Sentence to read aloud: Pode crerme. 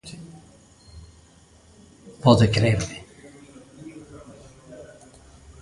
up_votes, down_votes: 1, 2